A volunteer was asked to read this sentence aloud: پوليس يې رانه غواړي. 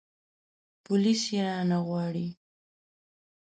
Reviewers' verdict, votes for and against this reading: accepted, 2, 0